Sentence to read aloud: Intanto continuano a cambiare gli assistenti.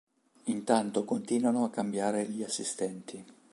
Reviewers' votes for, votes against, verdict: 2, 0, accepted